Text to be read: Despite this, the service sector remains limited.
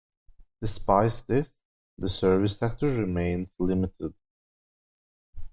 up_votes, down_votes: 1, 2